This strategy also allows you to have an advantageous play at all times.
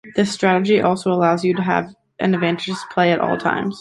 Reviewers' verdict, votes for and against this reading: accepted, 2, 0